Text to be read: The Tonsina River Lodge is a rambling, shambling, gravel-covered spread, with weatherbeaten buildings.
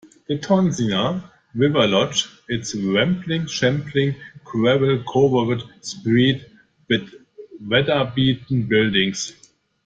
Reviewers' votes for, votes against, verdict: 0, 2, rejected